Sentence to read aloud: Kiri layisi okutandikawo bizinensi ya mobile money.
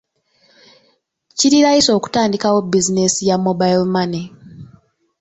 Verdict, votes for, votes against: accepted, 2, 0